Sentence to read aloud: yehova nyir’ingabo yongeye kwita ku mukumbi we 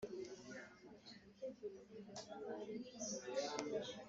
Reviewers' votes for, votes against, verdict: 0, 2, rejected